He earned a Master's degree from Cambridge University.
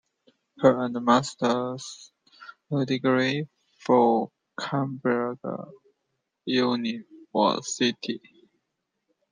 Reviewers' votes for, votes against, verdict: 1, 2, rejected